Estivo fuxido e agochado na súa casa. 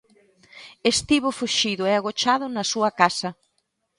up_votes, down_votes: 2, 0